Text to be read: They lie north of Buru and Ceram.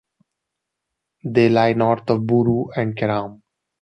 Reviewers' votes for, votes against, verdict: 2, 0, accepted